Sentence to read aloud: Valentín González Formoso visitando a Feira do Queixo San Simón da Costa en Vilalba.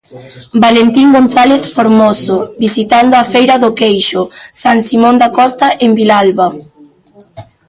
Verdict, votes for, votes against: accepted, 2, 1